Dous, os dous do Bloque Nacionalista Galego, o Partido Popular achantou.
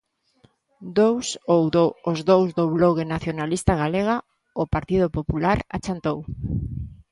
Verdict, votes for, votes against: rejected, 0, 2